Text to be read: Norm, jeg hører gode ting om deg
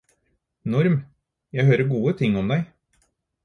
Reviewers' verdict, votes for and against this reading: accepted, 4, 0